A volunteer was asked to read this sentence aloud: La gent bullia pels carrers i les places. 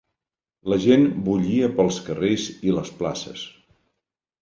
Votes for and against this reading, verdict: 3, 0, accepted